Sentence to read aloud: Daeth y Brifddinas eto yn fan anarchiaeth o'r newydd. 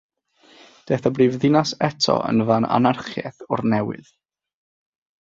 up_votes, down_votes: 6, 0